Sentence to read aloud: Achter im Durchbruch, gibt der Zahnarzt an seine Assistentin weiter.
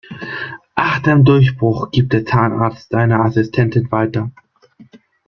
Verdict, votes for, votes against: rejected, 1, 2